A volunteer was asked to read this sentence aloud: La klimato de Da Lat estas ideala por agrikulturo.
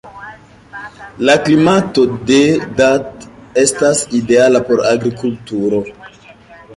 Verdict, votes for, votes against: rejected, 1, 2